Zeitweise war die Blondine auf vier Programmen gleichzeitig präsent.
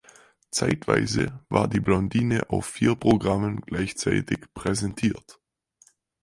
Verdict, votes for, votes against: rejected, 0, 4